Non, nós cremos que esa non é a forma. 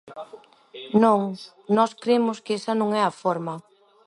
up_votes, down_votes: 1, 2